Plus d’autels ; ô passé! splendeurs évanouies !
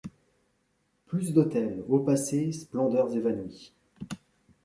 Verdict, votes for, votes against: rejected, 1, 2